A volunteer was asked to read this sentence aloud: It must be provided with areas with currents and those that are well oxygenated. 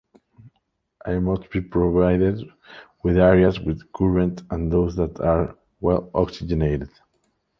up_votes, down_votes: 3, 2